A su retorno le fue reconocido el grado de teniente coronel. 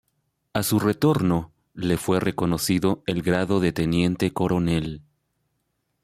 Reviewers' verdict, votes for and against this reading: accepted, 2, 0